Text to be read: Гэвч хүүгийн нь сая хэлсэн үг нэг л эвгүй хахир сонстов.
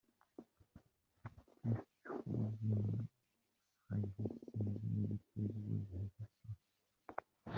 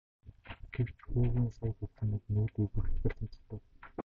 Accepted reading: second